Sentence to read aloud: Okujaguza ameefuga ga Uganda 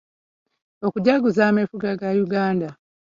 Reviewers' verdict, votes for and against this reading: rejected, 1, 2